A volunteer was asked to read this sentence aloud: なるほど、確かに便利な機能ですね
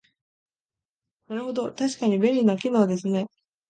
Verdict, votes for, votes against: accepted, 2, 0